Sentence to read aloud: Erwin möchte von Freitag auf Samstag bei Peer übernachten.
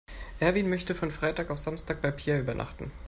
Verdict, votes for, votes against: accepted, 2, 0